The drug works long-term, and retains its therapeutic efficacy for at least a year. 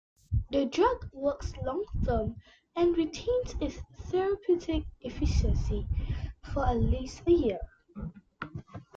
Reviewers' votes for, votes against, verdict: 1, 2, rejected